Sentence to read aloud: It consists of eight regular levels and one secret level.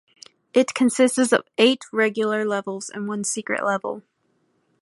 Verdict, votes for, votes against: rejected, 0, 2